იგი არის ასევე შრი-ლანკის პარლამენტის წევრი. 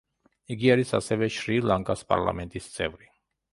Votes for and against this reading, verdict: 0, 2, rejected